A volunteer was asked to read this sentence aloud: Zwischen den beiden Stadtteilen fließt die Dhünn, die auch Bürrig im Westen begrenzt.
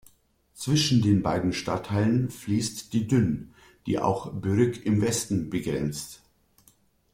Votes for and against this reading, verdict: 1, 2, rejected